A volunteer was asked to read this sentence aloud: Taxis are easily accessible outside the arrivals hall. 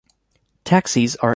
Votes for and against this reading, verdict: 0, 2, rejected